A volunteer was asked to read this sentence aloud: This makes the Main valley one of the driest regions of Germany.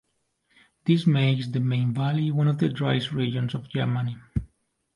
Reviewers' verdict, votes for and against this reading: accepted, 2, 0